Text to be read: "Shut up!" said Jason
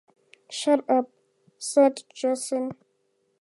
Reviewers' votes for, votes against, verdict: 4, 0, accepted